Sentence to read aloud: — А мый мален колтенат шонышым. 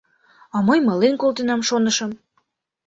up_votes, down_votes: 0, 2